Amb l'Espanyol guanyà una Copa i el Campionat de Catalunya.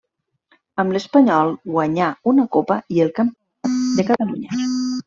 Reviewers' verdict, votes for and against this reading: rejected, 0, 2